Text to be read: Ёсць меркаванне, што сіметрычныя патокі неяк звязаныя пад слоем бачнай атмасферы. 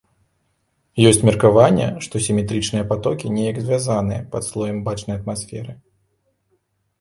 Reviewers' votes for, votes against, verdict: 2, 0, accepted